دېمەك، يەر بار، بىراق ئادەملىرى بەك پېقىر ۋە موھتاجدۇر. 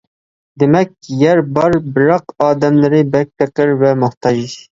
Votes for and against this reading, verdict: 0, 2, rejected